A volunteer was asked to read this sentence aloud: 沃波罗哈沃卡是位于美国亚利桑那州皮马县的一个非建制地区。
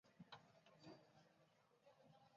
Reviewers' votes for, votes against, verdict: 3, 1, accepted